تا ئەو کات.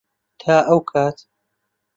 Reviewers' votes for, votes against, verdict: 2, 0, accepted